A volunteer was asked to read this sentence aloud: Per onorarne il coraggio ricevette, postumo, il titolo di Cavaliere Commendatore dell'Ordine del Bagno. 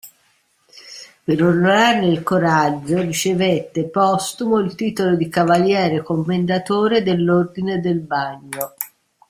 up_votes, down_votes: 2, 0